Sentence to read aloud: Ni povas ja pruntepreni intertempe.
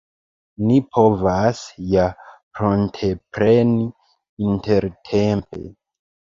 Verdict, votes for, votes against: rejected, 1, 2